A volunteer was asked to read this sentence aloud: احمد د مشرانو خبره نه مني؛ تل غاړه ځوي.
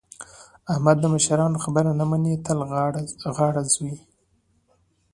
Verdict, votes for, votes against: accepted, 2, 0